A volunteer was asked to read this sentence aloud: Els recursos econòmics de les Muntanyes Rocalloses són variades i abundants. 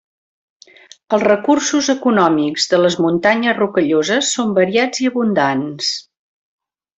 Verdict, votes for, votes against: rejected, 1, 2